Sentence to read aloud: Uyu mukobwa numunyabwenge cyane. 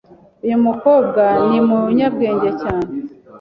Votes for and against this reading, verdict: 2, 1, accepted